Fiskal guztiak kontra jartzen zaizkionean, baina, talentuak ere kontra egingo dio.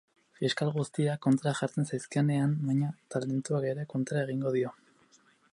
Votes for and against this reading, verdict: 0, 4, rejected